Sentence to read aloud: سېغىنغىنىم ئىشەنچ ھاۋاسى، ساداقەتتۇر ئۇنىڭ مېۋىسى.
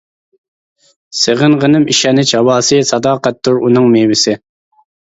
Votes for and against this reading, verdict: 1, 2, rejected